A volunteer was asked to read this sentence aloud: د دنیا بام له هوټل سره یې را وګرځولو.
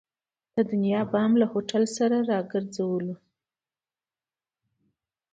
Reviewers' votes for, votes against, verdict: 2, 0, accepted